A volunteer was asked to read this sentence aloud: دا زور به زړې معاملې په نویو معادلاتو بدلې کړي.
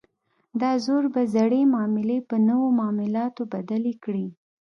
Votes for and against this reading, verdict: 2, 0, accepted